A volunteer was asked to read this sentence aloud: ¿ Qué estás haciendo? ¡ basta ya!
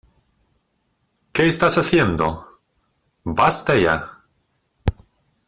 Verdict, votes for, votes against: rejected, 1, 2